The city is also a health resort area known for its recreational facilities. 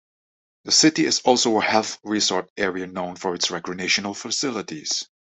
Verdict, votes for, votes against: rejected, 0, 2